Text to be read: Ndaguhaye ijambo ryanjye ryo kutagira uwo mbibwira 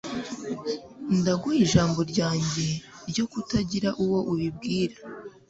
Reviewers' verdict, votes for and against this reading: accepted, 2, 0